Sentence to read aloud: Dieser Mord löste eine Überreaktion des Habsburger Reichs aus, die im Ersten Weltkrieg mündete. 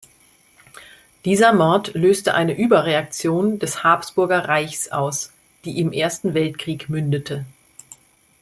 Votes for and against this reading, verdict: 2, 0, accepted